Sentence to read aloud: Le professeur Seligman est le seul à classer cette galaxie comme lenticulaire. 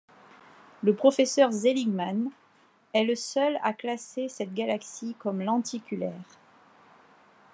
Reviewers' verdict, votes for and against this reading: rejected, 0, 2